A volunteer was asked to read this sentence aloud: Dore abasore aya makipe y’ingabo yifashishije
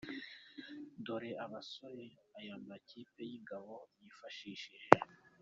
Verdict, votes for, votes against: accepted, 2, 0